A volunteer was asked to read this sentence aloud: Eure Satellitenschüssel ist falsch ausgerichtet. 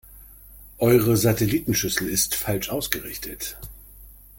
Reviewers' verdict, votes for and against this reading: accepted, 2, 0